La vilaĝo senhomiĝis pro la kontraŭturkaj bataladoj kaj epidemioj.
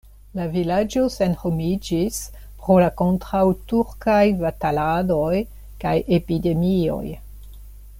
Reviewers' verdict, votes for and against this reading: accepted, 2, 0